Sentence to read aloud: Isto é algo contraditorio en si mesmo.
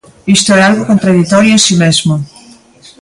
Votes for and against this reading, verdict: 2, 0, accepted